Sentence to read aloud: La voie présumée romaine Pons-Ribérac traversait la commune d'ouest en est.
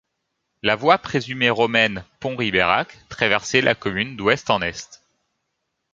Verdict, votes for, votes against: accepted, 2, 0